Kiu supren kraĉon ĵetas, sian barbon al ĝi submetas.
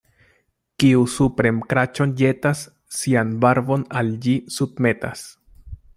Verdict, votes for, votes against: accepted, 2, 0